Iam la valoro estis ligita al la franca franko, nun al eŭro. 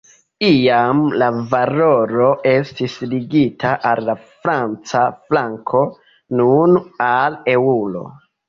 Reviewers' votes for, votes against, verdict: 1, 2, rejected